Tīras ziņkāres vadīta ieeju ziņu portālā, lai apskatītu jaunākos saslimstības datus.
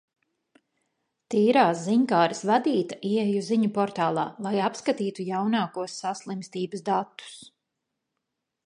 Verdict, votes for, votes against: rejected, 1, 2